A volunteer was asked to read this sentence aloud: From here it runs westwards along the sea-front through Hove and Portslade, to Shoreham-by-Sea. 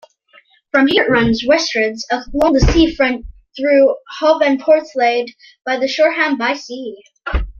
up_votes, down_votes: 0, 2